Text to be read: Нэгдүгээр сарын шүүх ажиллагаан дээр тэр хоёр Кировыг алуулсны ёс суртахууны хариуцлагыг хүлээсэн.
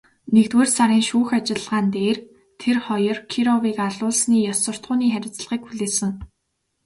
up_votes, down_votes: 2, 0